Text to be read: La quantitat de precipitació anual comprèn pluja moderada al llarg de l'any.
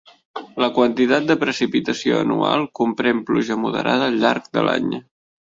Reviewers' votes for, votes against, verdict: 3, 0, accepted